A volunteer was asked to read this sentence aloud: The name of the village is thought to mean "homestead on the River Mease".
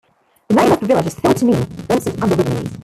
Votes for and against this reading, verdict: 0, 2, rejected